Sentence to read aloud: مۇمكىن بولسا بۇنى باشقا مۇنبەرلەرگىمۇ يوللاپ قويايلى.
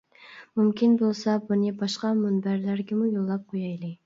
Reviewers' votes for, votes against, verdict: 2, 0, accepted